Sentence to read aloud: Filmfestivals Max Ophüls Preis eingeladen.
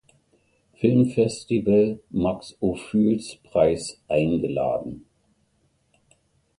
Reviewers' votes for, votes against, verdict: 0, 2, rejected